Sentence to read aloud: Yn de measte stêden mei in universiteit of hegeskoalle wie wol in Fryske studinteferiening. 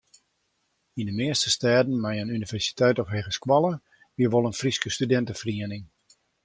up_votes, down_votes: 2, 0